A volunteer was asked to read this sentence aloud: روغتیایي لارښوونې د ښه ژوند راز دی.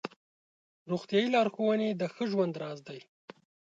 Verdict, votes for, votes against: accepted, 2, 0